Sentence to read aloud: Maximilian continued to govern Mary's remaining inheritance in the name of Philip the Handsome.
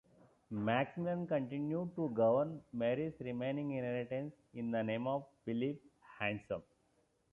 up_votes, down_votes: 2, 1